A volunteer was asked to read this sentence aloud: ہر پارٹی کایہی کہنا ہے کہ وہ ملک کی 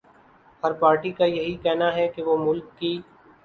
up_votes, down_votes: 2, 0